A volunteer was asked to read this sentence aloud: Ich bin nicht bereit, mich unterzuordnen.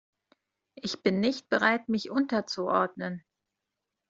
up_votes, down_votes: 2, 0